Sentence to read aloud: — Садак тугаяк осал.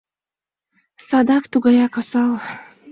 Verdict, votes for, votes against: accepted, 2, 0